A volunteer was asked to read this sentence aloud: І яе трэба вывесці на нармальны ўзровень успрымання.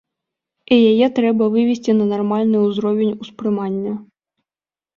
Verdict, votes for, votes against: accepted, 2, 0